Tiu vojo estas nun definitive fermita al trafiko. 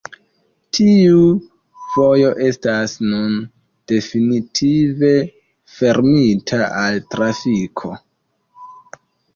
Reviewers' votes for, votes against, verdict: 2, 0, accepted